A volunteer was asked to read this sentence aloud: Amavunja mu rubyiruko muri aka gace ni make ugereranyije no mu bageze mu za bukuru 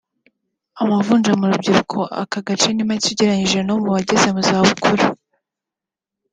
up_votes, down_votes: 3, 0